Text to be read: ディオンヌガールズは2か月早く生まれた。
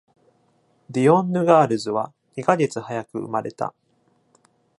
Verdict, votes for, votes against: rejected, 0, 2